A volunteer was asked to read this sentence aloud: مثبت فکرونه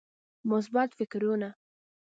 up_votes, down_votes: 2, 0